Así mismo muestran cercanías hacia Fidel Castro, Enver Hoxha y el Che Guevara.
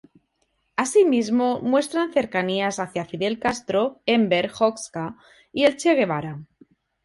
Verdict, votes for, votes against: accepted, 4, 0